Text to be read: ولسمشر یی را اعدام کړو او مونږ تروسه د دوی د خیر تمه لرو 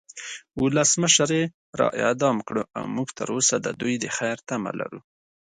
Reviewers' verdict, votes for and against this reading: accepted, 2, 0